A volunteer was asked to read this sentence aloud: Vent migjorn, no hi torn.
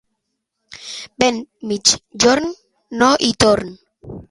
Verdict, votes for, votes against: accepted, 2, 0